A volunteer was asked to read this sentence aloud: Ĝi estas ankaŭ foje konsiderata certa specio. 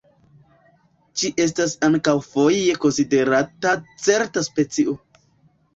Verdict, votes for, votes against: accepted, 4, 1